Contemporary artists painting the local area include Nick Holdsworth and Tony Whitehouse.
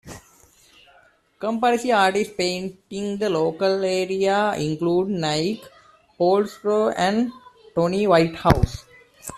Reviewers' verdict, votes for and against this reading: rejected, 1, 2